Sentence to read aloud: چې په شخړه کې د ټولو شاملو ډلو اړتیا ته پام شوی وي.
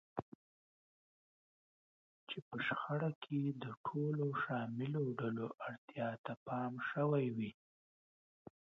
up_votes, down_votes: 2, 1